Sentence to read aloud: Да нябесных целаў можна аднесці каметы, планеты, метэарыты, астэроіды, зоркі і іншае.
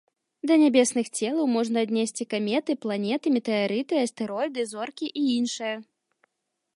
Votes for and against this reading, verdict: 2, 0, accepted